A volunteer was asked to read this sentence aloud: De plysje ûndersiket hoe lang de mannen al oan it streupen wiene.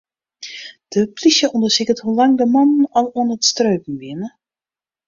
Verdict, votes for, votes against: rejected, 0, 2